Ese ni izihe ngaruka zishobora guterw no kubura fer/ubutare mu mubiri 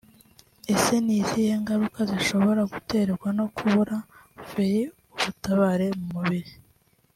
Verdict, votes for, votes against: rejected, 1, 3